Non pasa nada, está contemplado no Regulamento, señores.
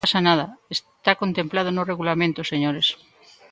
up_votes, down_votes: 1, 2